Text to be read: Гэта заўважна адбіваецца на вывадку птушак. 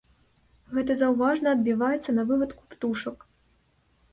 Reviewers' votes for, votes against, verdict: 2, 0, accepted